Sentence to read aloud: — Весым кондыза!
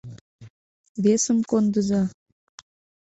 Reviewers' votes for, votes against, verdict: 2, 0, accepted